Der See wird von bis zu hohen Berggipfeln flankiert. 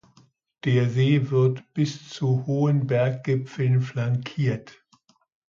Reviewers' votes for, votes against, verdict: 0, 2, rejected